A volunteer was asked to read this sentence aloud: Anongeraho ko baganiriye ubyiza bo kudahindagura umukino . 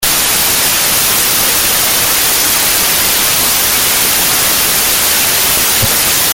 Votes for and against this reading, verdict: 0, 2, rejected